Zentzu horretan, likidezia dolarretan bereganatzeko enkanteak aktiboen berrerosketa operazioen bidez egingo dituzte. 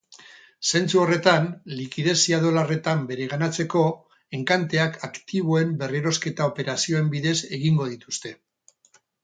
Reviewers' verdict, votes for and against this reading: accepted, 2, 0